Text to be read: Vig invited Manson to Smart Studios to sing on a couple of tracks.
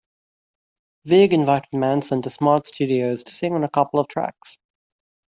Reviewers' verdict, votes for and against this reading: accepted, 2, 0